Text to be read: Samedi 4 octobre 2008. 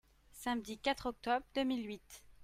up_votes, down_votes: 0, 2